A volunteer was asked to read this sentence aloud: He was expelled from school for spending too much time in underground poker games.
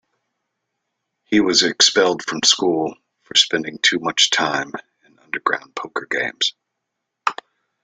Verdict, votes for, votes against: rejected, 1, 2